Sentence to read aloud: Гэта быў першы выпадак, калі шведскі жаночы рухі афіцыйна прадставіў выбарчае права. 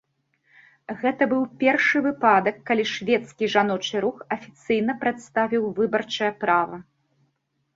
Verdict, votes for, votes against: accepted, 2, 1